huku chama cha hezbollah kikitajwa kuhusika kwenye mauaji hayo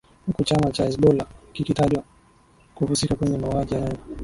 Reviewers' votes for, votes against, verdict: 0, 2, rejected